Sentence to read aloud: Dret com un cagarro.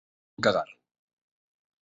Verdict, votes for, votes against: rejected, 0, 3